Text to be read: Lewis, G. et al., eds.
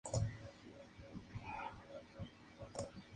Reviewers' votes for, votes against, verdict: 0, 2, rejected